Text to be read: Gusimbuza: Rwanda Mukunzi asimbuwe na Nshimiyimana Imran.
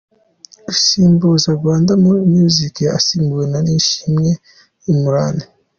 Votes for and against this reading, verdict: 1, 2, rejected